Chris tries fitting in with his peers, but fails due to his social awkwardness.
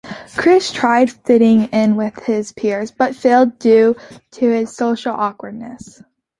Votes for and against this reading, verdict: 0, 2, rejected